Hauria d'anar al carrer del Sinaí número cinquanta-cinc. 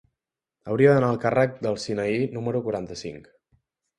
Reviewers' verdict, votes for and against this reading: rejected, 2, 3